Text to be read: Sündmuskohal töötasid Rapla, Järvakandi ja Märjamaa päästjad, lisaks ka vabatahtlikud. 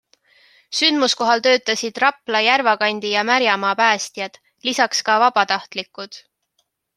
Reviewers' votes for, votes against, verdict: 3, 0, accepted